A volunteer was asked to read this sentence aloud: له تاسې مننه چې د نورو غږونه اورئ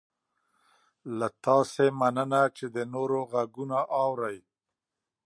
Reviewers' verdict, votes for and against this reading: accepted, 2, 0